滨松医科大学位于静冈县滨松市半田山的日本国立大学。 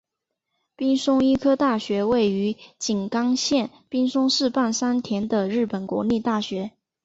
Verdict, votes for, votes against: accepted, 3, 0